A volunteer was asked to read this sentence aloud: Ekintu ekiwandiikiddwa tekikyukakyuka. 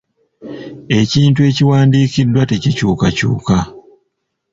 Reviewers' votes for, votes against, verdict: 1, 2, rejected